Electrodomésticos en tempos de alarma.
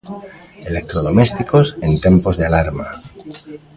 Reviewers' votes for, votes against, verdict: 2, 0, accepted